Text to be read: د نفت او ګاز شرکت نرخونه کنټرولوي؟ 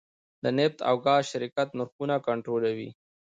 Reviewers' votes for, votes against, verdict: 2, 0, accepted